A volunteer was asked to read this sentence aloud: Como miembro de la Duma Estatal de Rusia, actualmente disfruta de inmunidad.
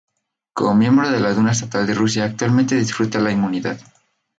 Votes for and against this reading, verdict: 2, 2, rejected